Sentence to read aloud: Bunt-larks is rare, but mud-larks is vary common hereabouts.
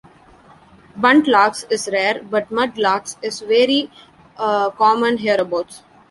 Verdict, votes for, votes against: rejected, 0, 2